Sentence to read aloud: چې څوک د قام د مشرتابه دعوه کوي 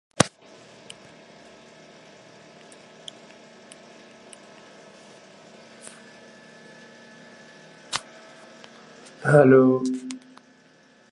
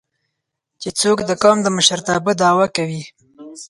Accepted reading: second